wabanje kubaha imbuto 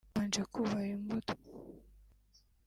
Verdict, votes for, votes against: rejected, 0, 2